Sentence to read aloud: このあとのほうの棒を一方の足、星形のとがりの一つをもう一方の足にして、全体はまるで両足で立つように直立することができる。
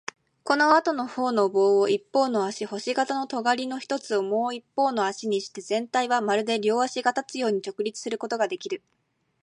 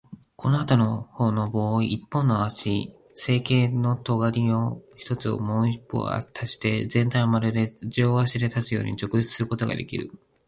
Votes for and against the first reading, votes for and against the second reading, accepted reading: 24, 8, 0, 2, first